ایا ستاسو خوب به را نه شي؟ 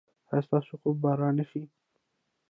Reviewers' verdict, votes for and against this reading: rejected, 0, 2